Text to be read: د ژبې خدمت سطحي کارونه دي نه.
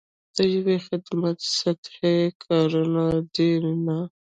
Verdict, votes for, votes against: accepted, 2, 0